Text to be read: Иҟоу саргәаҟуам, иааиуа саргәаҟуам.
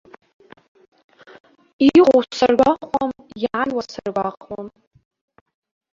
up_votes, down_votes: 0, 2